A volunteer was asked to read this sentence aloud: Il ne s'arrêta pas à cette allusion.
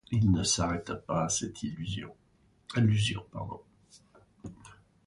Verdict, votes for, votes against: rejected, 0, 2